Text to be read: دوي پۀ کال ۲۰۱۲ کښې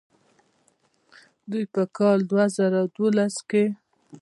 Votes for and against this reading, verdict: 0, 2, rejected